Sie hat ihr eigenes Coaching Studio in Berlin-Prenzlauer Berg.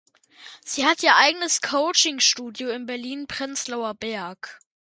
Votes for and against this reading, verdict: 2, 0, accepted